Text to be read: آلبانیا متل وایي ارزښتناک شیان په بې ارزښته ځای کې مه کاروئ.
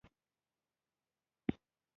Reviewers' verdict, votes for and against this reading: rejected, 1, 2